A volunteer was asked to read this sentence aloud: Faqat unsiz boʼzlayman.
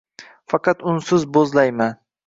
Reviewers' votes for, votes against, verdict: 2, 0, accepted